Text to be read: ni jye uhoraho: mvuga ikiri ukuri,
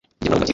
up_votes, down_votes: 1, 2